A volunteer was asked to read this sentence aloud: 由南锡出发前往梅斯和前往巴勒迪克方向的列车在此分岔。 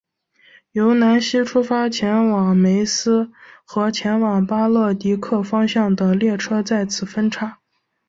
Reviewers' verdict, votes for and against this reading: accepted, 2, 0